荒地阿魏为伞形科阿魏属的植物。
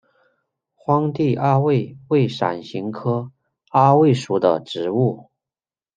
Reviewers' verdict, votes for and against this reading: rejected, 0, 2